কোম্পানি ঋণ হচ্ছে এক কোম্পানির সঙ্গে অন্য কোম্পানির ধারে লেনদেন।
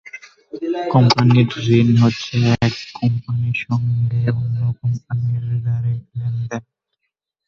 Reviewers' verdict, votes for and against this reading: rejected, 0, 3